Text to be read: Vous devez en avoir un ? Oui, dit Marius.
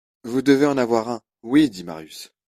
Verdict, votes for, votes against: accepted, 2, 0